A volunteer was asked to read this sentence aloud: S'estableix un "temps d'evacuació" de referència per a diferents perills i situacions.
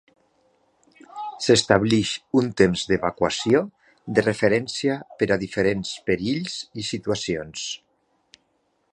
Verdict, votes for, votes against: rejected, 0, 2